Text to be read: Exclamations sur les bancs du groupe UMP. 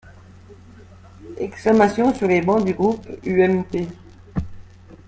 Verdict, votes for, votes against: accepted, 2, 0